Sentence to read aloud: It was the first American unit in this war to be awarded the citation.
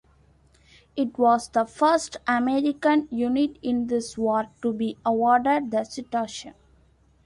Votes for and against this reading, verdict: 2, 1, accepted